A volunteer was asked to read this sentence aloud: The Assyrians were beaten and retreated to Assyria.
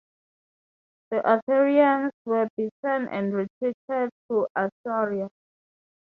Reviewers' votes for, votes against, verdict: 3, 0, accepted